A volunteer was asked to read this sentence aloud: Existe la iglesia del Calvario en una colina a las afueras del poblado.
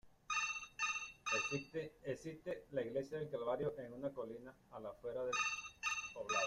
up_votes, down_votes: 0, 2